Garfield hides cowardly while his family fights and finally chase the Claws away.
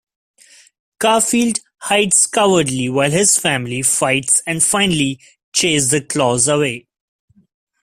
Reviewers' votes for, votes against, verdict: 2, 0, accepted